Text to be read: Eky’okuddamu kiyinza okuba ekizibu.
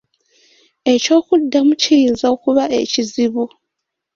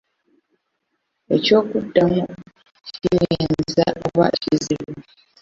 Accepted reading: first